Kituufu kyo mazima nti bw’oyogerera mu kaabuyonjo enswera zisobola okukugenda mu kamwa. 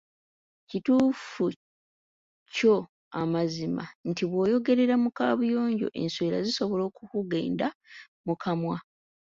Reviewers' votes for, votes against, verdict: 0, 2, rejected